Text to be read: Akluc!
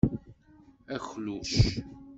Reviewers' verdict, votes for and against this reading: rejected, 1, 2